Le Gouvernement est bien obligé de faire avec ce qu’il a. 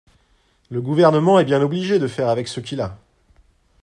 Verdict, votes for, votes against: accepted, 2, 0